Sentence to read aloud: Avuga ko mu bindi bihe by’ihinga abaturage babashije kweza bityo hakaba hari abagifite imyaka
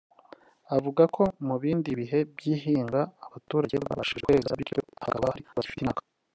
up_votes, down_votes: 1, 2